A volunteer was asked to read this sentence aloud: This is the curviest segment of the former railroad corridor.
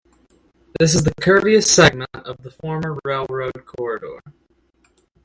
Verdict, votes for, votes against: rejected, 0, 2